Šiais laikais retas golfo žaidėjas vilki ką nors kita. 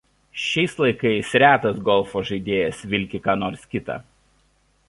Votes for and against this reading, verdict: 2, 0, accepted